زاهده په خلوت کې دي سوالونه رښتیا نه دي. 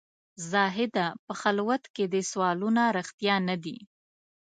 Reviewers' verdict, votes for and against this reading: accepted, 2, 0